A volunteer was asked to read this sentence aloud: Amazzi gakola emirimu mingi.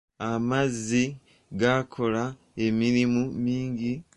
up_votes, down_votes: 0, 2